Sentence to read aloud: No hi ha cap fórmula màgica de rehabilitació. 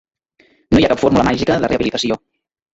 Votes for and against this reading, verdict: 0, 2, rejected